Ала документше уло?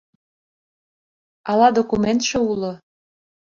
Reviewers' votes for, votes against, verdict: 2, 0, accepted